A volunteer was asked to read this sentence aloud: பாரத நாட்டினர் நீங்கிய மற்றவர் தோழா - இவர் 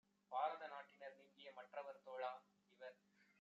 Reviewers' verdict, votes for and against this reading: accepted, 2, 0